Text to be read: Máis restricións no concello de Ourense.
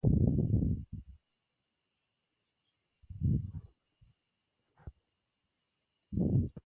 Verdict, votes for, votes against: rejected, 0, 2